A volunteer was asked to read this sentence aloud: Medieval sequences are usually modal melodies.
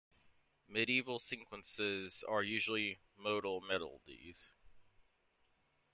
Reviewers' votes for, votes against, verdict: 1, 2, rejected